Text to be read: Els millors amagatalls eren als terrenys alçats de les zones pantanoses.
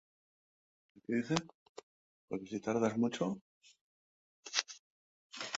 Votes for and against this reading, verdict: 0, 2, rejected